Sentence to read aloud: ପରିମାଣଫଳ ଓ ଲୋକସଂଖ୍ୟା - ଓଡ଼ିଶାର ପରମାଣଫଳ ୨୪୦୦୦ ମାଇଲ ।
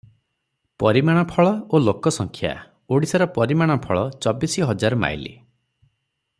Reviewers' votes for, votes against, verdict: 0, 2, rejected